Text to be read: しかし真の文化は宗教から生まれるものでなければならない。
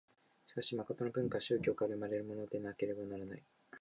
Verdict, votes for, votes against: rejected, 0, 2